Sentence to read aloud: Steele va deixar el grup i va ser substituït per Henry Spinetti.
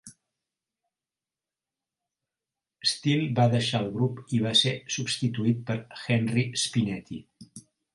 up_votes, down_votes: 2, 0